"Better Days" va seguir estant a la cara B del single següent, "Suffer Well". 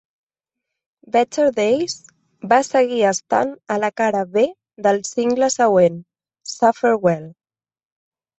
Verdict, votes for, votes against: rejected, 1, 2